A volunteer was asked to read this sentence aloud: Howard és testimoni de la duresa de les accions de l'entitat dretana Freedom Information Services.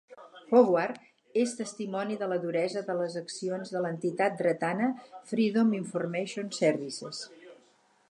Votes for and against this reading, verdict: 2, 4, rejected